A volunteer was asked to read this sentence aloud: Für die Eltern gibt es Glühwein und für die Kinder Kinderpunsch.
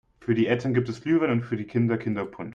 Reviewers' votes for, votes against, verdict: 1, 3, rejected